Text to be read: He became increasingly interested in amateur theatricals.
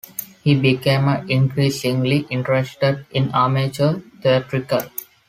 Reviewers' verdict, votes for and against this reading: accepted, 2, 1